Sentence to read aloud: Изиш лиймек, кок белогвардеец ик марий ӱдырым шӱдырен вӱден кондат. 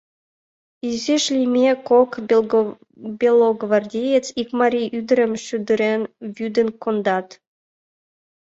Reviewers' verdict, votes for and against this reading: rejected, 0, 2